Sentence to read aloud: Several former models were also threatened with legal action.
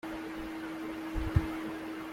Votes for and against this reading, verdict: 0, 2, rejected